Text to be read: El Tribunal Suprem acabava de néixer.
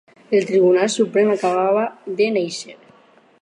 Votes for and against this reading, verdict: 4, 0, accepted